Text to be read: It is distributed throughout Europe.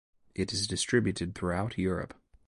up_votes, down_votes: 2, 0